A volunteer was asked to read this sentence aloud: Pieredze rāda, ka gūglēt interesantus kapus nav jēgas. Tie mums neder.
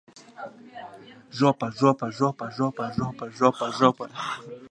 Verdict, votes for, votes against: rejected, 0, 2